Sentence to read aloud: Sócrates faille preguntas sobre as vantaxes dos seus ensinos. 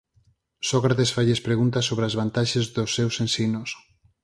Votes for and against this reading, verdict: 2, 4, rejected